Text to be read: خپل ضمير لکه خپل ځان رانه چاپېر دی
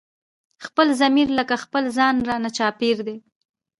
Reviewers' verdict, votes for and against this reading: rejected, 1, 2